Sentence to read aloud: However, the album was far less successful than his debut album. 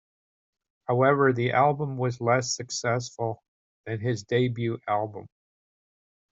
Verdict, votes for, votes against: rejected, 0, 2